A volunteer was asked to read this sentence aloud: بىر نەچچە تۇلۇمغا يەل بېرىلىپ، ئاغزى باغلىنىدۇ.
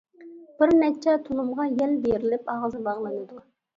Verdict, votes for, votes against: rejected, 1, 2